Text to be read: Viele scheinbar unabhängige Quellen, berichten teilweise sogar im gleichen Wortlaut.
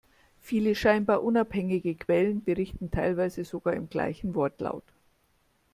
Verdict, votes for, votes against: accepted, 2, 1